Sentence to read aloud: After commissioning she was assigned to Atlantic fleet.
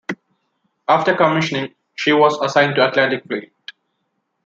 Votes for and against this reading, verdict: 0, 2, rejected